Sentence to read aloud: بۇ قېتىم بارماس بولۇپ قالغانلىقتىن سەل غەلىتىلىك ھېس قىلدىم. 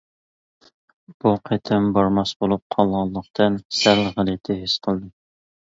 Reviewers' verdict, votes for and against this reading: rejected, 1, 2